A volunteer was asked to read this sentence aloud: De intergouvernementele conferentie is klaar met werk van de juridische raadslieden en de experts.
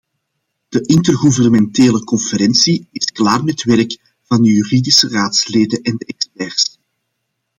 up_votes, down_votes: 2, 0